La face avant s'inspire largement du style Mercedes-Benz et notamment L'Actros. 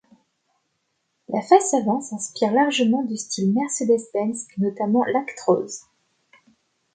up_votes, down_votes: 2, 0